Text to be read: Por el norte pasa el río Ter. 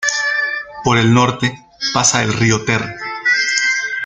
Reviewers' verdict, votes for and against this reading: accepted, 2, 0